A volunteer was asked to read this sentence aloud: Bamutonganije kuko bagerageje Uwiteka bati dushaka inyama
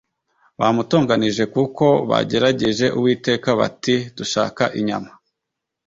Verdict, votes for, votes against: accepted, 2, 0